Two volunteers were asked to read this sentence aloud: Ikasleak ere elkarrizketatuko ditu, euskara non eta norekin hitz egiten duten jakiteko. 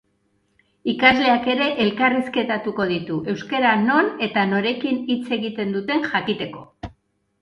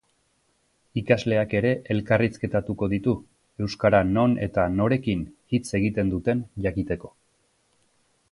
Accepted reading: second